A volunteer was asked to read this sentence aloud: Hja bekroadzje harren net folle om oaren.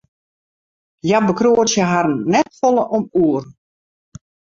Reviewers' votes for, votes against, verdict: 0, 2, rejected